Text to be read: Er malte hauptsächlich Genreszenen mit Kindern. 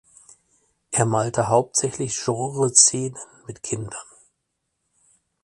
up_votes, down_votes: 2, 4